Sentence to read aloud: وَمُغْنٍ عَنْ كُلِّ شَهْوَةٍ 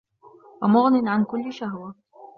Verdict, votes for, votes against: accepted, 2, 0